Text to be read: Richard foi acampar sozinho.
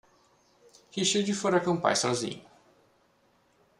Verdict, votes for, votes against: rejected, 1, 2